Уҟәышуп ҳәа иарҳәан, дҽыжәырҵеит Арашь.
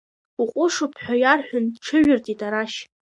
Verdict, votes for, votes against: accepted, 2, 0